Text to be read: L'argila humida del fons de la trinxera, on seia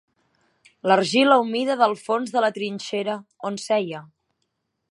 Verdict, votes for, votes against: accepted, 3, 0